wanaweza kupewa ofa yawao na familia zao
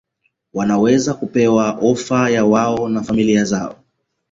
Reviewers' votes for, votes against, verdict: 1, 2, rejected